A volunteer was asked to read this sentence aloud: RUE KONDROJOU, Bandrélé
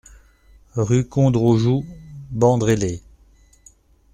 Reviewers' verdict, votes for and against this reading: accepted, 2, 0